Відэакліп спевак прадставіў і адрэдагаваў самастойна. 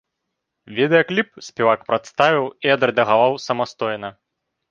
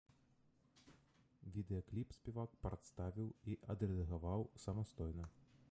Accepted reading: first